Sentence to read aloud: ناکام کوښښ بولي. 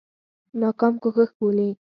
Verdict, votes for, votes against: rejected, 0, 4